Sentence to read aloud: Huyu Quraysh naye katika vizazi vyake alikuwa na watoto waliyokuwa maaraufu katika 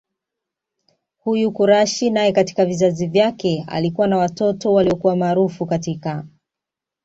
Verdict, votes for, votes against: accepted, 2, 1